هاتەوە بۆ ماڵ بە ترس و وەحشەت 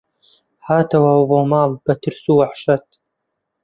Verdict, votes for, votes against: accepted, 2, 0